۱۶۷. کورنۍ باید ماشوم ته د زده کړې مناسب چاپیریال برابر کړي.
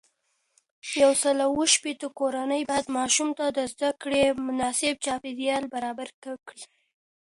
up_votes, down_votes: 0, 2